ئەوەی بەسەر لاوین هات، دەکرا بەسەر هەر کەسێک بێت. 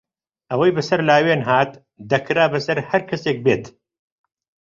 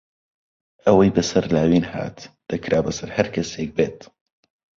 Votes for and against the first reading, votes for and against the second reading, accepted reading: 1, 2, 2, 0, second